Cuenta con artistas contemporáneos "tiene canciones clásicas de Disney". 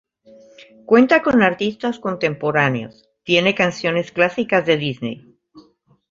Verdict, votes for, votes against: accepted, 2, 0